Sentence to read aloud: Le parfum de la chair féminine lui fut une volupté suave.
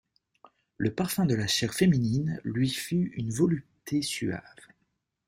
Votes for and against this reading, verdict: 1, 2, rejected